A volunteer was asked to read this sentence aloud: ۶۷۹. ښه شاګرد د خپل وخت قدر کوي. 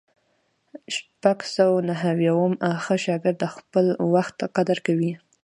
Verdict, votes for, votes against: rejected, 0, 2